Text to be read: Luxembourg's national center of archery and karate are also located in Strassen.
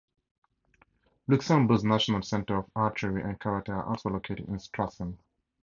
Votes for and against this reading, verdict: 4, 0, accepted